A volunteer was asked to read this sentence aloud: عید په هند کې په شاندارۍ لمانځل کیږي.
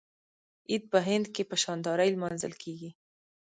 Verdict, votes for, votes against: rejected, 0, 2